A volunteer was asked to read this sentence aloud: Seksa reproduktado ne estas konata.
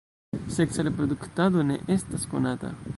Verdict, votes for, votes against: rejected, 0, 2